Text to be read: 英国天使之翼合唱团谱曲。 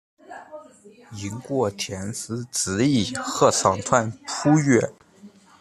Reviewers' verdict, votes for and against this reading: rejected, 0, 2